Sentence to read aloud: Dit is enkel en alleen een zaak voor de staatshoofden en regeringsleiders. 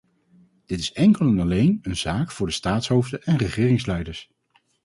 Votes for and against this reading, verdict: 4, 0, accepted